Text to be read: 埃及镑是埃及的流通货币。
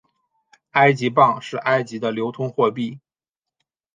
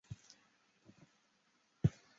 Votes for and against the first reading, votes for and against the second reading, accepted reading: 5, 0, 1, 2, first